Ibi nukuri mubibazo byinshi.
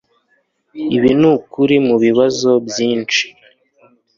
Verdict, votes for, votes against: accepted, 2, 0